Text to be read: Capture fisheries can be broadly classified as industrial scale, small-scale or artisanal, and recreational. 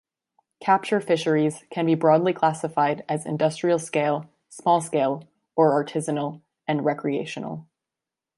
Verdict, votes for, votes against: accepted, 2, 0